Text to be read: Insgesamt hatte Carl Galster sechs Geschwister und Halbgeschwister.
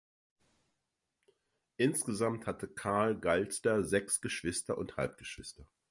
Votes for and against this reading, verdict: 2, 0, accepted